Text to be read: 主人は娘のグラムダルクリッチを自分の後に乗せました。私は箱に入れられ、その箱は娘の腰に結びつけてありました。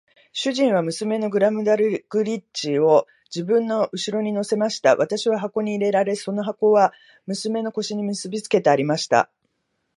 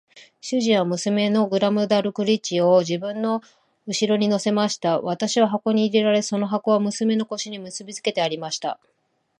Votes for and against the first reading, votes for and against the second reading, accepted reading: 0, 2, 2, 0, second